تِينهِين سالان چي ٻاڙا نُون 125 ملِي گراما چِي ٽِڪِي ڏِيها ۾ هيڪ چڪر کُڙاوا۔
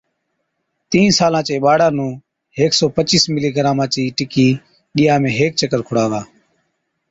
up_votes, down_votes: 0, 2